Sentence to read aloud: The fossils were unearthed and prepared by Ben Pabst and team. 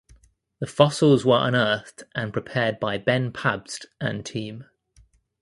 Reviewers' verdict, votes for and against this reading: accepted, 2, 0